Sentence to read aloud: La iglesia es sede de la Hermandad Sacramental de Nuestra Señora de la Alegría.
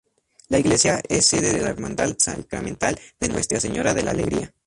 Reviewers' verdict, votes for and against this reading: rejected, 2, 2